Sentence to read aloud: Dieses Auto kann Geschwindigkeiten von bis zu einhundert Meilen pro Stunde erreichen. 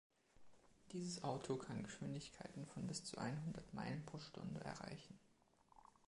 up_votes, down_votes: 1, 2